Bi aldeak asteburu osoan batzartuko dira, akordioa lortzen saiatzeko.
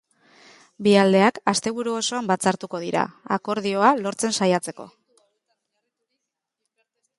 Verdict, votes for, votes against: accepted, 2, 0